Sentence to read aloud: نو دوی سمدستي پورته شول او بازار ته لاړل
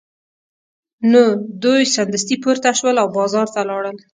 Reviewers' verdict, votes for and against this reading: rejected, 1, 2